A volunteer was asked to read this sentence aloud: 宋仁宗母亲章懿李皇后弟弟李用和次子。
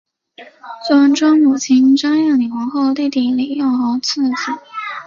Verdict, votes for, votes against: rejected, 2, 3